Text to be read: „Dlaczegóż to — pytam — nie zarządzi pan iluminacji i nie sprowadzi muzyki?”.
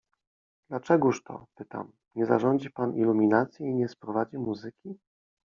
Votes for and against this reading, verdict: 2, 0, accepted